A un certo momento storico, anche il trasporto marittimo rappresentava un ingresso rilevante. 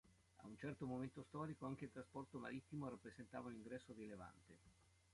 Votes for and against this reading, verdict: 2, 1, accepted